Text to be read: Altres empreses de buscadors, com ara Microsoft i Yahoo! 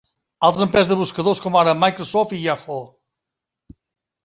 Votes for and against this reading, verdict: 1, 2, rejected